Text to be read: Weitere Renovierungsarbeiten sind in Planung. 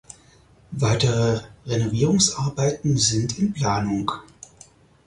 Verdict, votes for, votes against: accepted, 4, 0